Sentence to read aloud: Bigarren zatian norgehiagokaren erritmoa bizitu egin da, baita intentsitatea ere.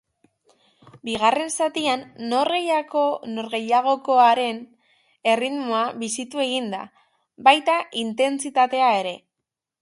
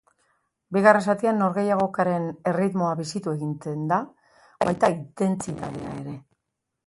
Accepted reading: second